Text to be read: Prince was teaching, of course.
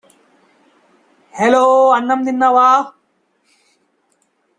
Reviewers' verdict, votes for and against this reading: rejected, 0, 2